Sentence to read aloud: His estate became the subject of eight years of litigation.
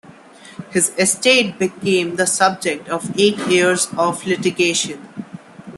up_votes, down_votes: 2, 0